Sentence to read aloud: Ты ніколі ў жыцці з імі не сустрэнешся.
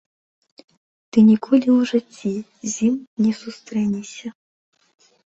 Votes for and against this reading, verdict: 2, 1, accepted